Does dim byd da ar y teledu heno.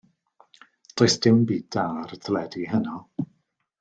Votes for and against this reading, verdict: 2, 0, accepted